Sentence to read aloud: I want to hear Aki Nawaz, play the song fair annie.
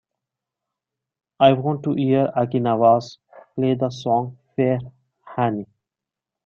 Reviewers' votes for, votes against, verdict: 2, 1, accepted